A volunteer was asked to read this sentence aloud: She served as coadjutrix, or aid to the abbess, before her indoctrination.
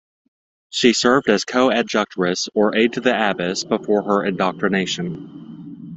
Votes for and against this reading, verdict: 1, 2, rejected